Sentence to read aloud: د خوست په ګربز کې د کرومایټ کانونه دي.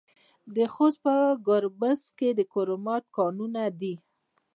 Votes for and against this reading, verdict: 2, 1, accepted